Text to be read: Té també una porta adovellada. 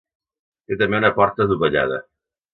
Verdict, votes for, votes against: accepted, 2, 0